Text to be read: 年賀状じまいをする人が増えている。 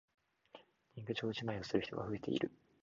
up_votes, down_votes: 1, 2